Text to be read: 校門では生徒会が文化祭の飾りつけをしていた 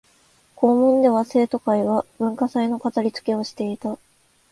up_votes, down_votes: 3, 0